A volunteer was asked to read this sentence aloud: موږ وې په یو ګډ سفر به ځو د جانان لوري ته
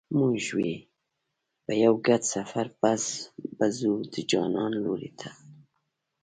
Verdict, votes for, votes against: accepted, 3, 0